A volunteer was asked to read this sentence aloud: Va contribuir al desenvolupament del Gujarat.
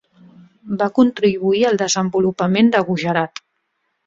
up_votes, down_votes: 0, 2